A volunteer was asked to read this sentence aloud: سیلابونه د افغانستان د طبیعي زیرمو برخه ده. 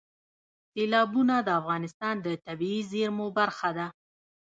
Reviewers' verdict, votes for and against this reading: accepted, 2, 1